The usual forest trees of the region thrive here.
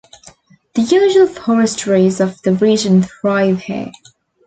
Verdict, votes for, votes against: accepted, 2, 0